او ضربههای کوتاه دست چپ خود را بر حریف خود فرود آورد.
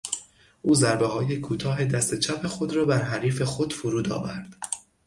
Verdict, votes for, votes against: accepted, 6, 0